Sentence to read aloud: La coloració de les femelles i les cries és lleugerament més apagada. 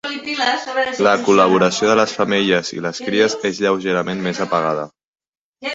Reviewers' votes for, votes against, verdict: 0, 3, rejected